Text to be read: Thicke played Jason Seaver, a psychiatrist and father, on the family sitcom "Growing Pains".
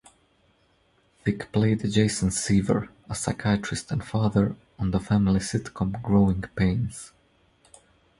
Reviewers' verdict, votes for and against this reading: accepted, 2, 0